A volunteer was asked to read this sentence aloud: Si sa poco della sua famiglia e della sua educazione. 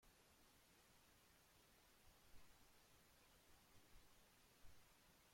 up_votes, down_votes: 0, 2